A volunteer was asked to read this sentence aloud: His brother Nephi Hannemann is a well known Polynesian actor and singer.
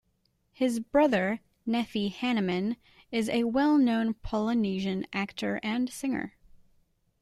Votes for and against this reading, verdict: 2, 0, accepted